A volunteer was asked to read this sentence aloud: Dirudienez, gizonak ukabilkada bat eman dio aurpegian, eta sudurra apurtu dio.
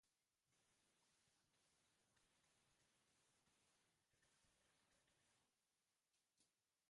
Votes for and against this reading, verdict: 0, 2, rejected